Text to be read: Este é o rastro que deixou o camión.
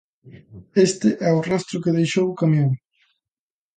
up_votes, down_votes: 2, 0